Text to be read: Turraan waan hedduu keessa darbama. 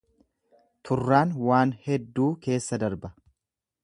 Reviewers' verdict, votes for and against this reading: rejected, 1, 2